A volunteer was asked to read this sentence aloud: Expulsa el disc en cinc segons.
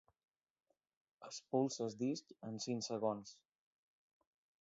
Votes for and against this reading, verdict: 2, 0, accepted